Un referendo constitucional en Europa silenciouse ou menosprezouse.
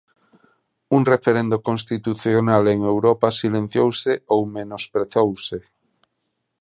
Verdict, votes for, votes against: accepted, 28, 0